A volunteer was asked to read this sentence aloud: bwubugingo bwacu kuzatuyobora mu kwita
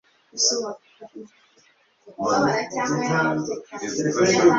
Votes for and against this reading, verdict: 0, 2, rejected